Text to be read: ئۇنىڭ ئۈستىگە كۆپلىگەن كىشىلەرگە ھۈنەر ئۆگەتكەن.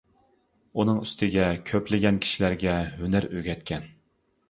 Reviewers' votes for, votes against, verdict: 2, 0, accepted